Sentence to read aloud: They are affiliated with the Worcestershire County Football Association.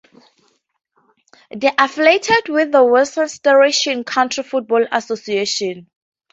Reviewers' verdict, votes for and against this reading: rejected, 0, 2